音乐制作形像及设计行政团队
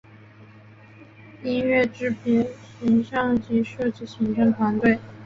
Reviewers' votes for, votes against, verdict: 0, 2, rejected